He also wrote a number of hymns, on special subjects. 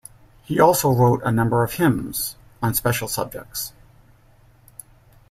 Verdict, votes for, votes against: accepted, 2, 0